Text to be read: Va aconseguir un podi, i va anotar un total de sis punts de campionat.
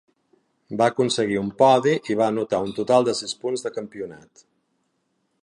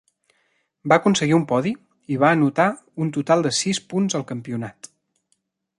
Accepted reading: first